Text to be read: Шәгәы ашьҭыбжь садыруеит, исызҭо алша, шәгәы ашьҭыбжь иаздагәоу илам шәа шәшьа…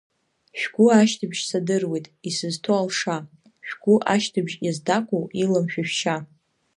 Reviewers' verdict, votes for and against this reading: accepted, 2, 0